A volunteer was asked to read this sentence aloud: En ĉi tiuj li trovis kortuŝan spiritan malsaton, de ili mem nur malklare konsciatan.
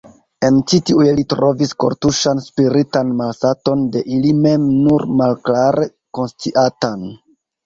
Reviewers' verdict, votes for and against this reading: rejected, 0, 2